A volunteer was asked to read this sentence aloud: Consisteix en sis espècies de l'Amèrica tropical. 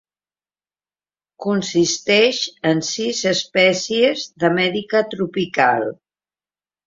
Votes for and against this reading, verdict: 0, 2, rejected